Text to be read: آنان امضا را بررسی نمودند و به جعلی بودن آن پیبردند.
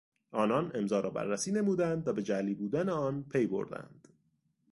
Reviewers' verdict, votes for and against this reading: accepted, 2, 0